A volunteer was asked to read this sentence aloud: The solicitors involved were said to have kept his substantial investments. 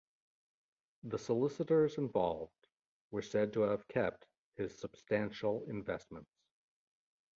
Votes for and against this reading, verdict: 2, 1, accepted